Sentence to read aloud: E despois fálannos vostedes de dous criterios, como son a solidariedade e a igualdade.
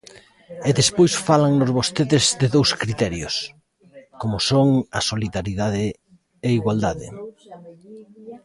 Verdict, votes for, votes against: rejected, 0, 2